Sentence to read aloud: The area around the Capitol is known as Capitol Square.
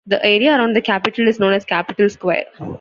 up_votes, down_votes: 2, 1